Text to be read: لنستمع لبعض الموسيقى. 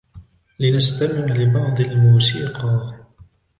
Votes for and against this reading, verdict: 2, 0, accepted